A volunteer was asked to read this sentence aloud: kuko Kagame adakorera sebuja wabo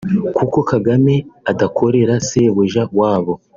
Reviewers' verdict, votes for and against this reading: accepted, 2, 0